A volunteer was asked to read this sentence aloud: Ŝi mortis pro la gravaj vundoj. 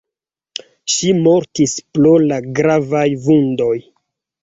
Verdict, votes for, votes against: accepted, 2, 0